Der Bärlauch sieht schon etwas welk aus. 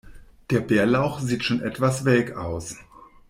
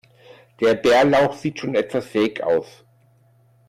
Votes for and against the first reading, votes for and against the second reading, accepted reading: 2, 0, 1, 2, first